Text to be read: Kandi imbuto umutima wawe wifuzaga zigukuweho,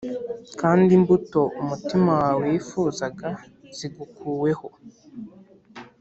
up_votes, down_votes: 3, 0